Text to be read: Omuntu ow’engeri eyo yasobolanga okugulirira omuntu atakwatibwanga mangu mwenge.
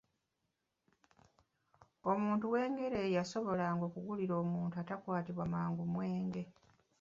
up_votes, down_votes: 0, 2